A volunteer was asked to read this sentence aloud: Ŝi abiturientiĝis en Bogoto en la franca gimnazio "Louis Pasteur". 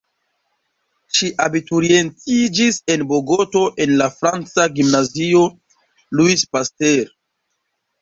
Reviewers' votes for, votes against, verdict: 1, 2, rejected